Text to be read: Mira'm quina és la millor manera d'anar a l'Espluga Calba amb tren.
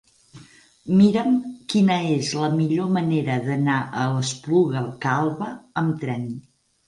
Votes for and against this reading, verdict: 4, 0, accepted